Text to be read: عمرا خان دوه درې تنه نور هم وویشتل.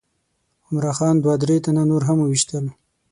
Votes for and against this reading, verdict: 6, 0, accepted